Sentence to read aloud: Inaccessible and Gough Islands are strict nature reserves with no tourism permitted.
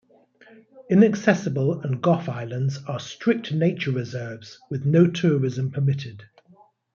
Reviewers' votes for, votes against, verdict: 2, 0, accepted